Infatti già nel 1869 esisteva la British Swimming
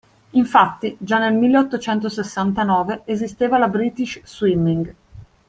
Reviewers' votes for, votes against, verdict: 0, 2, rejected